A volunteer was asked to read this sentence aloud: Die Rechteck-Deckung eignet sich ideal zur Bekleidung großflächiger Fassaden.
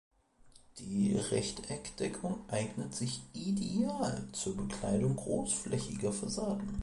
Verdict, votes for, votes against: accepted, 2, 0